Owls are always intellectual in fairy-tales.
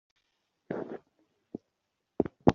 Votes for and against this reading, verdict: 0, 3, rejected